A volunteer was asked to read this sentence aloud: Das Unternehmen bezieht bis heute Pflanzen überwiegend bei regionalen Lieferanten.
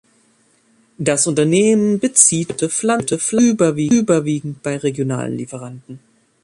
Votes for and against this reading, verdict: 0, 2, rejected